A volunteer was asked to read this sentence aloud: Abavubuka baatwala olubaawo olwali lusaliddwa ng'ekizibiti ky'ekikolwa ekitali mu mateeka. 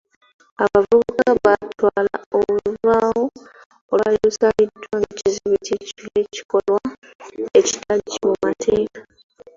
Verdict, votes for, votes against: rejected, 0, 2